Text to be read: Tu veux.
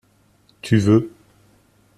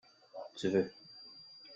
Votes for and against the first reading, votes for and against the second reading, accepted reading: 2, 0, 1, 2, first